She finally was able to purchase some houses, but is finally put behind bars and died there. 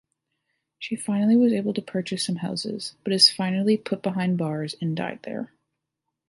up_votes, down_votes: 2, 0